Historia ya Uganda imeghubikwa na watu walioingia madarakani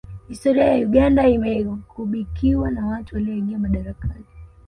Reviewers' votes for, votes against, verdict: 1, 2, rejected